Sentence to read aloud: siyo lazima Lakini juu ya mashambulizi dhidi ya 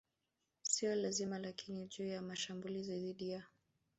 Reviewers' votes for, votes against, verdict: 1, 2, rejected